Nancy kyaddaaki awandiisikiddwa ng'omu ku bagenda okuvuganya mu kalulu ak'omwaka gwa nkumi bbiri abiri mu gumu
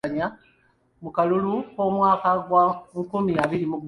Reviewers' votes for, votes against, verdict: 0, 2, rejected